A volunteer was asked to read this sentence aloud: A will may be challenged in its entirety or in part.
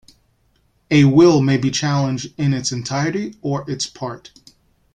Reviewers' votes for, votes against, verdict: 0, 2, rejected